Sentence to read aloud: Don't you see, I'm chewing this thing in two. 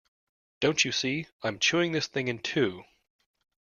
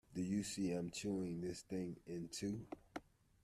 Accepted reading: first